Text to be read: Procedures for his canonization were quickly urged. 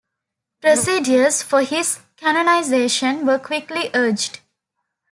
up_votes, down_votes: 2, 0